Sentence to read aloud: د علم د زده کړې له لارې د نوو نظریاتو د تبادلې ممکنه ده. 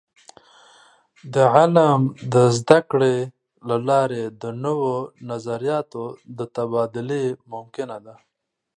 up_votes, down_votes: 2, 0